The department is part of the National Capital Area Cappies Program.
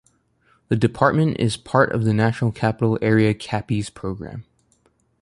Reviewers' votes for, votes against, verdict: 1, 2, rejected